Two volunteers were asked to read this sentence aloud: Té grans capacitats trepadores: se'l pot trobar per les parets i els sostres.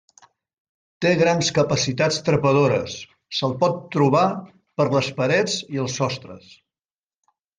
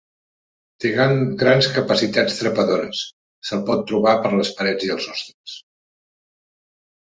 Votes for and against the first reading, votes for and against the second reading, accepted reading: 2, 0, 0, 3, first